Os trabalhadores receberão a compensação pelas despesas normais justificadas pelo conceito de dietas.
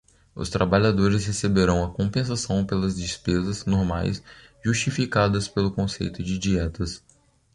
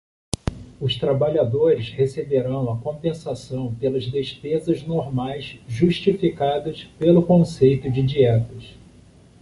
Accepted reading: first